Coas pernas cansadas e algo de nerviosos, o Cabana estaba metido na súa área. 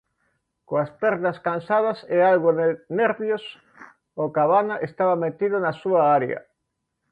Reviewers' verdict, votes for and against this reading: rejected, 0, 2